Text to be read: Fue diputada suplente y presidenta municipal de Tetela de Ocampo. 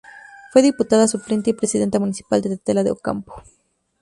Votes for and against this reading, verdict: 0, 2, rejected